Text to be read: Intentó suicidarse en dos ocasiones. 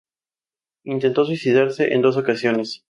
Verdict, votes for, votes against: accepted, 2, 0